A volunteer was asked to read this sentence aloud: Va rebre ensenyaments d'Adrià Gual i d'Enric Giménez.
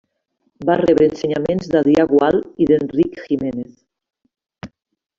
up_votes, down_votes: 2, 0